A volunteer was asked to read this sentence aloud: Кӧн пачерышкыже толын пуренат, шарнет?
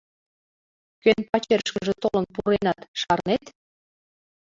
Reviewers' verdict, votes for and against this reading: accepted, 2, 0